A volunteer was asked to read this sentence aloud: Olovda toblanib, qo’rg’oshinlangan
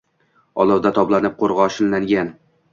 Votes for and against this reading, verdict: 2, 0, accepted